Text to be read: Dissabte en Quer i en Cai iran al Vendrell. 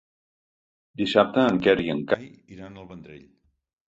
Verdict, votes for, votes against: rejected, 1, 2